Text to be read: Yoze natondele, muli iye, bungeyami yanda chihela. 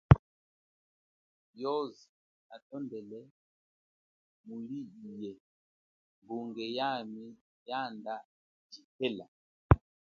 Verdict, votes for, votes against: accepted, 2, 1